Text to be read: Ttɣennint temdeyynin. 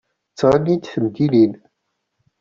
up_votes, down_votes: 1, 2